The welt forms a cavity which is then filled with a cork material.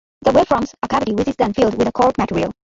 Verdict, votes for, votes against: rejected, 1, 2